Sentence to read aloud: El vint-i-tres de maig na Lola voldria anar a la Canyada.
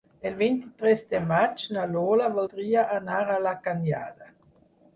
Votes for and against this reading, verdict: 6, 2, accepted